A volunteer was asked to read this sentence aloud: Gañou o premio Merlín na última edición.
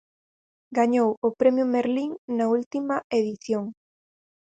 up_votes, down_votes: 4, 0